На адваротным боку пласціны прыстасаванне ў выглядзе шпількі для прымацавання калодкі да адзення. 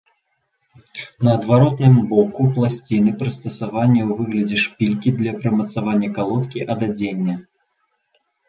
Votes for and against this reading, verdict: 0, 2, rejected